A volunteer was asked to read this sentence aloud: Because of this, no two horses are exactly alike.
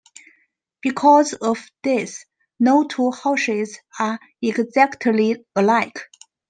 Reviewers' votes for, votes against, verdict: 1, 2, rejected